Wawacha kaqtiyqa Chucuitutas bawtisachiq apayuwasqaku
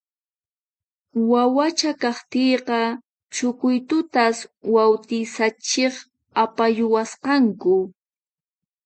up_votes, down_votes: 0, 4